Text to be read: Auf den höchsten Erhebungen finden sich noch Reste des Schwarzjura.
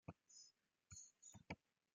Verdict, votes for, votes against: rejected, 0, 2